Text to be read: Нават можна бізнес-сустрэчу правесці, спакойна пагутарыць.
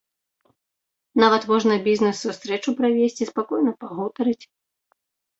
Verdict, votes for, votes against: accepted, 2, 0